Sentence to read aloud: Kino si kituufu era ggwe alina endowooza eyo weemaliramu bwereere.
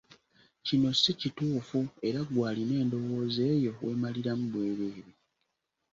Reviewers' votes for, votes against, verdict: 2, 0, accepted